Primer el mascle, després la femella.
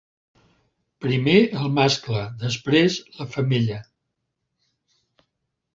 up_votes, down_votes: 3, 0